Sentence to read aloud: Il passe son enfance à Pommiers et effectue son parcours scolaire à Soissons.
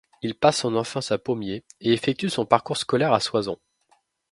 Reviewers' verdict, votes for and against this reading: rejected, 0, 2